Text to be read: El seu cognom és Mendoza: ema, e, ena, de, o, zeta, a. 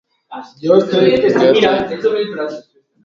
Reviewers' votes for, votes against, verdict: 0, 2, rejected